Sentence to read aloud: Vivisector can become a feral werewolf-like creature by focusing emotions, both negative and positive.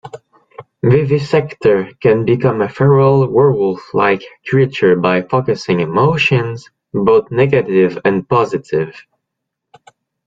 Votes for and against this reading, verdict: 2, 0, accepted